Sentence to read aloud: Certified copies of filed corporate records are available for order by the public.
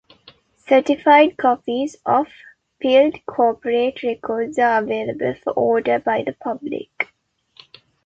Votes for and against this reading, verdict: 0, 2, rejected